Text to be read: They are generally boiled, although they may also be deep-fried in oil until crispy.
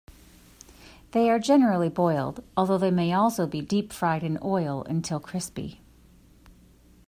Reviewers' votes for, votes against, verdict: 2, 0, accepted